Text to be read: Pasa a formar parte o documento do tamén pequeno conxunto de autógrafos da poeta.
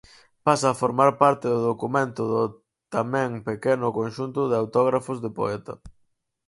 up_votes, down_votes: 0, 4